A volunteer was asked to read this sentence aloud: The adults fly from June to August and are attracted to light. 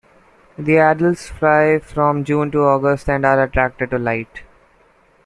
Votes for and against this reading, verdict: 2, 1, accepted